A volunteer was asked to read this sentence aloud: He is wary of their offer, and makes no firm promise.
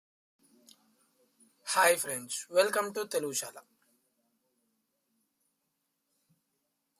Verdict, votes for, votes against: rejected, 0, 2